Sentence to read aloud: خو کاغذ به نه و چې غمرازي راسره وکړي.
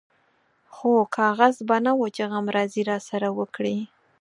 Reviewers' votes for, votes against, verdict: 4, 0, accepted